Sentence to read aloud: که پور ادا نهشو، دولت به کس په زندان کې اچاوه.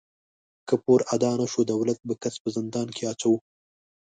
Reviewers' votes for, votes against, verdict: 1, 2, rejected